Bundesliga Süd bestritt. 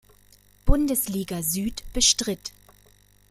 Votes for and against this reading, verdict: 2, 0, accepted